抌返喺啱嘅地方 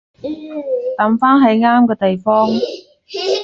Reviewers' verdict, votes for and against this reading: rejected, 1, 2